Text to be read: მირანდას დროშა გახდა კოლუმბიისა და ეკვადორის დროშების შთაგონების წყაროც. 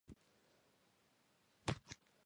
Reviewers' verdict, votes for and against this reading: rejected, 1, 2